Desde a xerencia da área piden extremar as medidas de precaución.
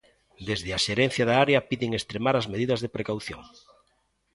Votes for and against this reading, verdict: 2, 0, accepted